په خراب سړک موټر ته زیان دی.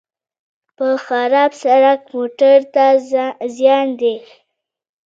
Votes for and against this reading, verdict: 2, 1, accepted